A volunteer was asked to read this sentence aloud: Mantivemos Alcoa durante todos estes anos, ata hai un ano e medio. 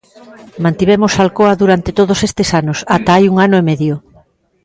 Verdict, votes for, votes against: accepted, 2, 0